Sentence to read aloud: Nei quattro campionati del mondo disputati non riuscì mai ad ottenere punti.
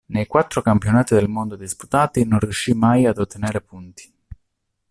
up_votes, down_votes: 1, 2